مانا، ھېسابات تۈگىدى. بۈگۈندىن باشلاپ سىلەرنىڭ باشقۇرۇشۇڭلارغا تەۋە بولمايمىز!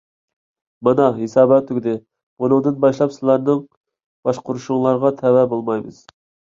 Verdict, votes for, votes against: rejected, 1, 2